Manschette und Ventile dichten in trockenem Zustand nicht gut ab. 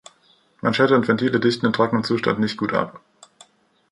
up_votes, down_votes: 2, 0